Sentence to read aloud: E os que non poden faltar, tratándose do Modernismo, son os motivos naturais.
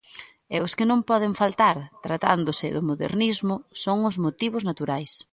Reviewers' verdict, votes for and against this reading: accepted, 2, 1